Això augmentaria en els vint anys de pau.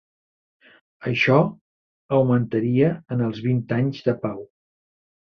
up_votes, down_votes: 4, 0